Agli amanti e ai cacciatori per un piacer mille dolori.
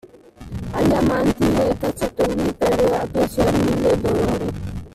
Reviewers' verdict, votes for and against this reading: rejected, 0, 2